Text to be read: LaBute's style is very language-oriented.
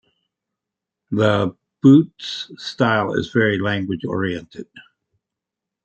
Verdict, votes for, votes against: accepted, 2, 0